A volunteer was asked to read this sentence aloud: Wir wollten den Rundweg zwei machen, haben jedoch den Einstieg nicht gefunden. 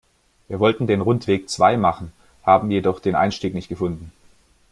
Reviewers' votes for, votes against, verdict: 2, 0, accepted